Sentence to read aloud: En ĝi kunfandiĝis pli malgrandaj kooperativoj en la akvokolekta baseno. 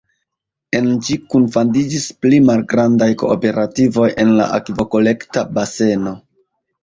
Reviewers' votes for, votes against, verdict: 0, 2, rejected